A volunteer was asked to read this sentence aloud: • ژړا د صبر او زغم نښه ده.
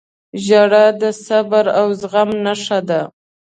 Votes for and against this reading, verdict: 2, 0, accepted